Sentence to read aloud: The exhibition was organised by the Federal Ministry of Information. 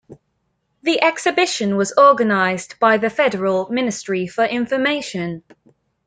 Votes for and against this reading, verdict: 0, 2, rejected